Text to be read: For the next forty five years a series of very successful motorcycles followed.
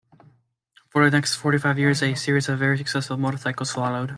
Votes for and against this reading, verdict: 1, 2, rejected